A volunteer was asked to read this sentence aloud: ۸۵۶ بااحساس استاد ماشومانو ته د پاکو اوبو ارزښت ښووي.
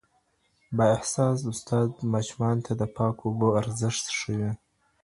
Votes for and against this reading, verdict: 0, 2, rejected